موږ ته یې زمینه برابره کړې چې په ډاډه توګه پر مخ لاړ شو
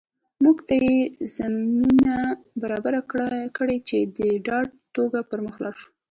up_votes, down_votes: 1, 2